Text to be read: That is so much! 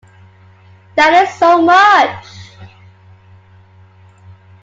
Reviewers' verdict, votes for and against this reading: accepted, 2, 0